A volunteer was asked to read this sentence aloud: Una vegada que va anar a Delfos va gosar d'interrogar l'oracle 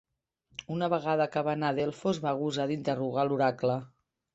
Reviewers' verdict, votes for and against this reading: accepted, 2, 0